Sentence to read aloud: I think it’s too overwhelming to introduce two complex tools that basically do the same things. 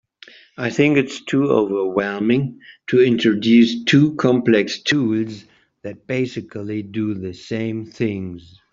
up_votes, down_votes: 3, 0